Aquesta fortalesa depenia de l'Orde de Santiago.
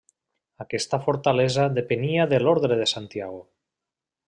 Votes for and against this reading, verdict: 0, 2, rejected